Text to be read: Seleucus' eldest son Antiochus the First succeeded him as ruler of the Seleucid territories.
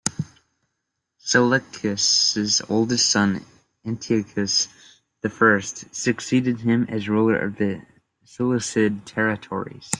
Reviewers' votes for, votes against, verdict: 1, 2, rejected